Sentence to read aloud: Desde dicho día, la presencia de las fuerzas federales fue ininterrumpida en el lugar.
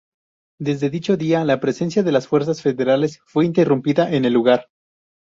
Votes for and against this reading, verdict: 0, 2, rejected